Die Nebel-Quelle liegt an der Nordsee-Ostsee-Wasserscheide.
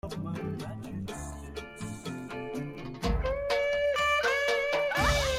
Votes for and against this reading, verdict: 0, 2, rejected